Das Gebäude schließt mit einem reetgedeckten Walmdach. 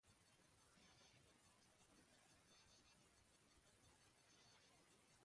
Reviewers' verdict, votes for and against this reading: rejected, 0, 2